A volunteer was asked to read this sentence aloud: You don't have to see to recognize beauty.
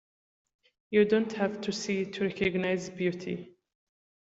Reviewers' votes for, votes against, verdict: 2, 0, accepted